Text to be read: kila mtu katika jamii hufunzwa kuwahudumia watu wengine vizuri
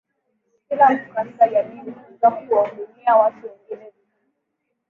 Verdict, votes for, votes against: rejected, 1, 2